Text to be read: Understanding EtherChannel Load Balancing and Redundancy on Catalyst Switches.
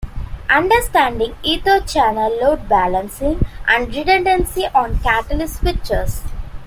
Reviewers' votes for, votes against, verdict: 2, 0, accepted